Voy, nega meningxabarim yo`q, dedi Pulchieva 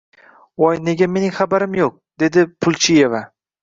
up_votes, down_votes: 2, 0